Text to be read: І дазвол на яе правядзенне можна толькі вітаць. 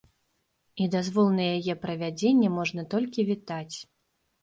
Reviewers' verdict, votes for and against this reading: accepted, 2, 0